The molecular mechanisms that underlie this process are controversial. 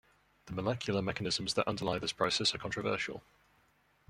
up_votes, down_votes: 1, 2